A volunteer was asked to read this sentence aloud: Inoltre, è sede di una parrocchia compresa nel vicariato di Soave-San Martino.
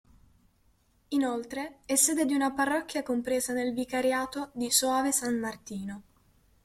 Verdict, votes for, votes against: accepted, 2, 0